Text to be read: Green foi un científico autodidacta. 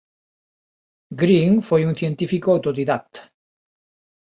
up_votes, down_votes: 2, 0